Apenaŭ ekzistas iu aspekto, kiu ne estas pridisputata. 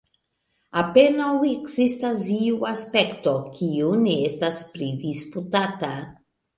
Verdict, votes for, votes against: accepted, 2, 1